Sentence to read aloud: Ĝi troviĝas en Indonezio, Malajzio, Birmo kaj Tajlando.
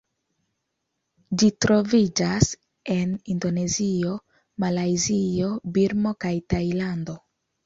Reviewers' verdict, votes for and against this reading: accepted, 2, 0